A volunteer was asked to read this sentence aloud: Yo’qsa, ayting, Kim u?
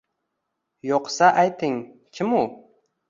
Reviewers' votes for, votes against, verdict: 2, 0, accepted